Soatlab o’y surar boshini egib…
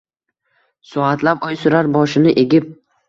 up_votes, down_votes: 2, 0